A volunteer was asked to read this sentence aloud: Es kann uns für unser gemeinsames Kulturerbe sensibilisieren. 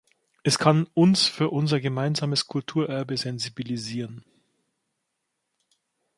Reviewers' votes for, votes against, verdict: 2, 0, accepted